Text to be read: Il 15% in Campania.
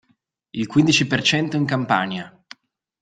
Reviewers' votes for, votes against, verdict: 0, 2, rejected